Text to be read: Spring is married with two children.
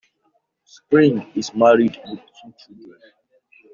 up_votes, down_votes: 0, 2